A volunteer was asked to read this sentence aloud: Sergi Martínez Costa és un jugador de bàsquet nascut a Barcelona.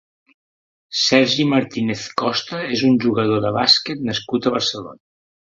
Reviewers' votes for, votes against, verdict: 0, 2, rejected